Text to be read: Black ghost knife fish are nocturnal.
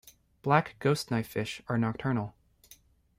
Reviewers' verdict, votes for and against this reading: accepted, 2, 0